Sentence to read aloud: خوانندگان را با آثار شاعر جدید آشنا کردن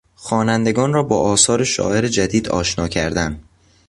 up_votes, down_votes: 2, 0